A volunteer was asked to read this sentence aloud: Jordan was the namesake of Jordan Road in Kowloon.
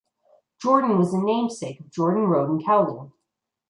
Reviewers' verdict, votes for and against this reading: accepted, 2, 0